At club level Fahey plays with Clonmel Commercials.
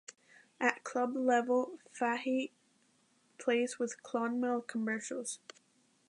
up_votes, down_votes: 2, 0